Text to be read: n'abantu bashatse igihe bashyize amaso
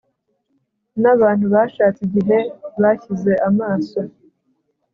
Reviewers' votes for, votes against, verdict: 2, 0, accepted